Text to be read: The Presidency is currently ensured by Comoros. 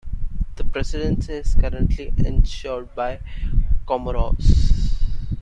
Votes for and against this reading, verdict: 2, 1, accepted